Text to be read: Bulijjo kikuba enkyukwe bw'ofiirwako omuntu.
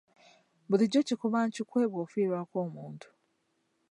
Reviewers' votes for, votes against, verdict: 1, 2, rejected